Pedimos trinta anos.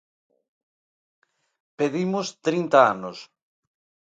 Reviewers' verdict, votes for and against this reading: accepted, 2, 0